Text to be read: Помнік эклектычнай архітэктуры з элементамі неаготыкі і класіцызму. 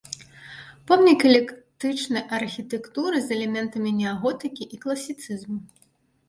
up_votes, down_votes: 1, 2